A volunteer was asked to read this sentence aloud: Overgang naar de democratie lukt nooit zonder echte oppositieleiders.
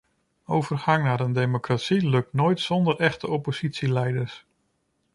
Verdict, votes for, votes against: rejected, 0, 2